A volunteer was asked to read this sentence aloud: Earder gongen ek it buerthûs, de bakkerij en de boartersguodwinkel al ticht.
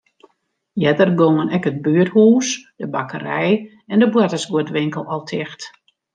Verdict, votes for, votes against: accepted, 2, 0